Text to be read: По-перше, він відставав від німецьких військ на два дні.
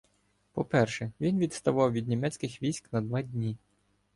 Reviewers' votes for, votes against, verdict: 2, 0, accepted